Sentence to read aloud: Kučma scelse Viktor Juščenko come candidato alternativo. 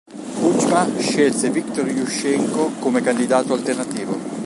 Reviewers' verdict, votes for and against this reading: rejected, 1, 2